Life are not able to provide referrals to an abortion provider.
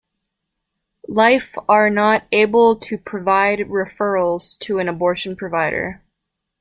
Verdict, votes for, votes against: accepted, 2, 0